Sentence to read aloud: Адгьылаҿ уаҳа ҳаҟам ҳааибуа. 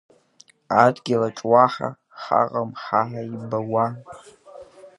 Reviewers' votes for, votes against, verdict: 1, 2, rejected